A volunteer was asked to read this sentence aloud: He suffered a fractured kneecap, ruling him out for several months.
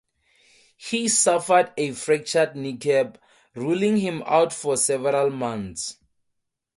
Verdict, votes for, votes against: accepted, 2, 0